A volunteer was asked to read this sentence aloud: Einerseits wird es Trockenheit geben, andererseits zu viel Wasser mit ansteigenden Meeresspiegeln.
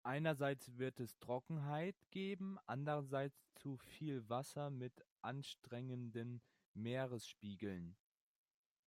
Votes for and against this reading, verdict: 0, 2, rejected